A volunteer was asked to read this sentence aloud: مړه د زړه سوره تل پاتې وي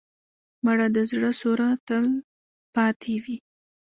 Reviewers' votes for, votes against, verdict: 0, 2, rejected